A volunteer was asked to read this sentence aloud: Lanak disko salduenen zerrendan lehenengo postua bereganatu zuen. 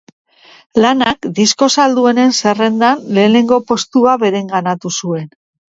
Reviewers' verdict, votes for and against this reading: accepted, 2, 0